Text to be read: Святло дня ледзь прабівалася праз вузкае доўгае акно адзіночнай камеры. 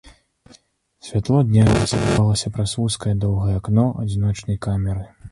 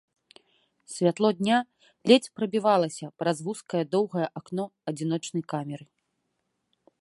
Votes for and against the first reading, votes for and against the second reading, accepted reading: 0, 2, 3, 0, second